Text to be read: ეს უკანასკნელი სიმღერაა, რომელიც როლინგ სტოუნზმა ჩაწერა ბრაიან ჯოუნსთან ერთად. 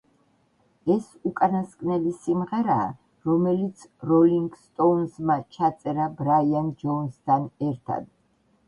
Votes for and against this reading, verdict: 1, 2, rejected